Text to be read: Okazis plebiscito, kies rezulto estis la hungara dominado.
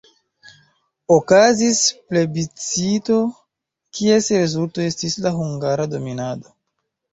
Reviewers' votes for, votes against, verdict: 1, 2, rejected